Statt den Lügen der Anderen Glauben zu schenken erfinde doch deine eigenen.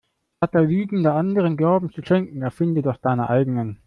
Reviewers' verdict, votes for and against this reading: rejected, 1, 2